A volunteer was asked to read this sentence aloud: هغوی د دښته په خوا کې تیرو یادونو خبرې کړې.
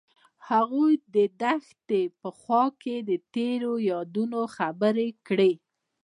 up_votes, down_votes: 1, 2